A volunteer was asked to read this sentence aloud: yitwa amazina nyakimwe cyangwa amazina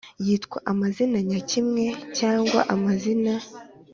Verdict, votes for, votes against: accepted, 3, 0